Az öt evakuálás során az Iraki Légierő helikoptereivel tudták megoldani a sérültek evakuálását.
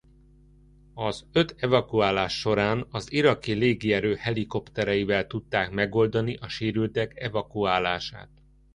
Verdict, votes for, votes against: accepted, 2, 0